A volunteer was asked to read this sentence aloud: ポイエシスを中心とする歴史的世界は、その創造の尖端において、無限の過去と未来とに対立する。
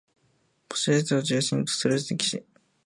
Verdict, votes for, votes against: rejected, 0, 2